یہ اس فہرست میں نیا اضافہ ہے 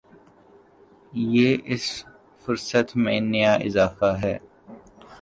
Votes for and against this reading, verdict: 0, 3, rejected